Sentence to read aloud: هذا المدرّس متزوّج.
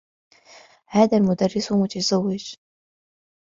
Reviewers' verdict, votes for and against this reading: accepted, 3, 0